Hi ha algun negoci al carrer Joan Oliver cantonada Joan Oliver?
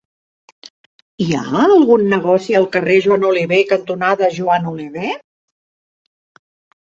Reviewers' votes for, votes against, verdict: 2, 0, accepted